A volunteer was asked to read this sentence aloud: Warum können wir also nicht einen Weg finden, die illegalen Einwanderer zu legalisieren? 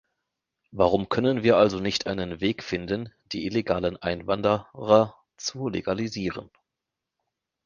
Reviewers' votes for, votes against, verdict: 1, 2, rejected